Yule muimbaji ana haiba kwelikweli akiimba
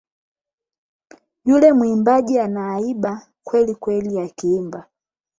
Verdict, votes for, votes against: rejected, 4, 8